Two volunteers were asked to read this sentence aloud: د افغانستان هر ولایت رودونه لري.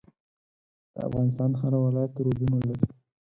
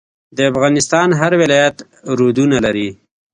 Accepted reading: second